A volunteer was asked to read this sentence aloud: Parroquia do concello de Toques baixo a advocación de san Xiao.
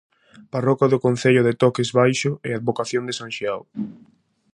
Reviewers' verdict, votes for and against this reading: rejected, 0, 4